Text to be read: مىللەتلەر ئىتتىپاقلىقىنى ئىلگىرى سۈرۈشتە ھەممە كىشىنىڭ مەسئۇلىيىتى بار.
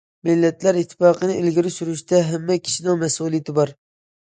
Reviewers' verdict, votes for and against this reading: rejected, 1, 2